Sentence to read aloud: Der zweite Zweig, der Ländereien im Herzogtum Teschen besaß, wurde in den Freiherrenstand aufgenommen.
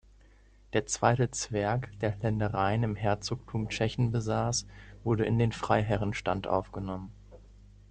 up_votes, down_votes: 0, 2